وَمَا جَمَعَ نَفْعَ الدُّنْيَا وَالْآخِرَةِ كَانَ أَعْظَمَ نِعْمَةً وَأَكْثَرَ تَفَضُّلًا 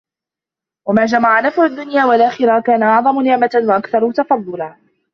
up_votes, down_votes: 0, 3